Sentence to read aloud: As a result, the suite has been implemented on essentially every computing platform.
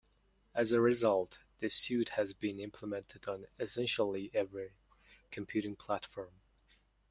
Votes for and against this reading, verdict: 0, 2, rejected